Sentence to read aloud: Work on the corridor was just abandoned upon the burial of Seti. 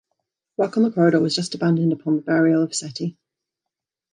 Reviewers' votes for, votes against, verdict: 2, 0, accepted